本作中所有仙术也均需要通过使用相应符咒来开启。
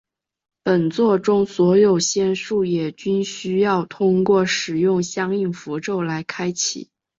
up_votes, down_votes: 3, 0